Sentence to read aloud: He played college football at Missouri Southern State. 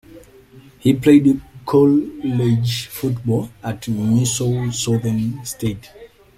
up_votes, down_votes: 0, 2